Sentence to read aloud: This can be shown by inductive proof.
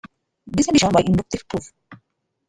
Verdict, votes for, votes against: rejected, 0, 2